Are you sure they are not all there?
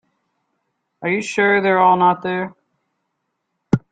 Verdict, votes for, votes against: rejected, 1, 2